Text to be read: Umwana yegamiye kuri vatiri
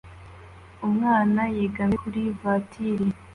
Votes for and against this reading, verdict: 2, 0, accepted